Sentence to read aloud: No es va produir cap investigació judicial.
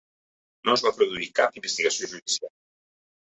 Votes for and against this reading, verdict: 1, 2, rejected